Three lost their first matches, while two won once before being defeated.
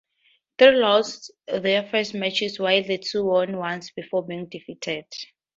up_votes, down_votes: 0, 2